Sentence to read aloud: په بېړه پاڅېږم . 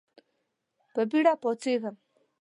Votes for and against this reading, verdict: 2, 0, accepted